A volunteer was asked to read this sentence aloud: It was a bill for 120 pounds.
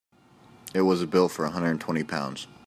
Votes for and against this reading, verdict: 0, 2, rejected